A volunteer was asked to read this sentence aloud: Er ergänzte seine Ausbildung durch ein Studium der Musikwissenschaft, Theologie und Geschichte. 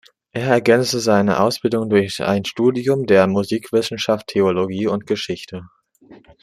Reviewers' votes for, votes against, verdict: 2, 0, accepted